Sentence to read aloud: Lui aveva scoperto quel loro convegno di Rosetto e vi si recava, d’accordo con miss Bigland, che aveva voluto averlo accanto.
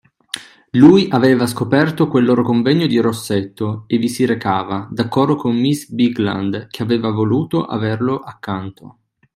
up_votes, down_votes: 2, 1